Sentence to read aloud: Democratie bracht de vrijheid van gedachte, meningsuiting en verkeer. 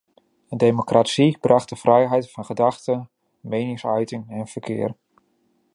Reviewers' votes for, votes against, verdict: 2, 1, accepted